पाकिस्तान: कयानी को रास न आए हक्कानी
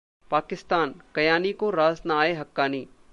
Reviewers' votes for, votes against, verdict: 1, 2, rejected